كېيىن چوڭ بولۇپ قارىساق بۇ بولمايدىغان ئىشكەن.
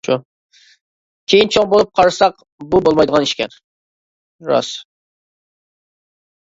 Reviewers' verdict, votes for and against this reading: rejected, 0, 2